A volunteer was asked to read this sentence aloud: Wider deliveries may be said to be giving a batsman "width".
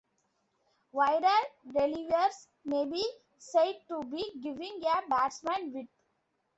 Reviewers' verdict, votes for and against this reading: rejected, 1, 2